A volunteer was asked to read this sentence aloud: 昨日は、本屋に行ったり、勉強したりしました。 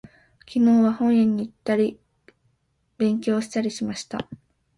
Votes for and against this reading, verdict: 1, 2, rejected